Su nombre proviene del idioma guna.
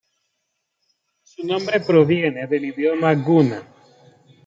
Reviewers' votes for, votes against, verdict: 2, 0, accepted